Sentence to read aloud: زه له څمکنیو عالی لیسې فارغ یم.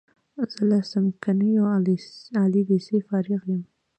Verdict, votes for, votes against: accepted, 2, 0